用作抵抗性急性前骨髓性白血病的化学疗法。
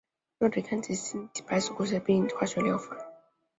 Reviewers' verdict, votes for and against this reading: accepted, 6, 1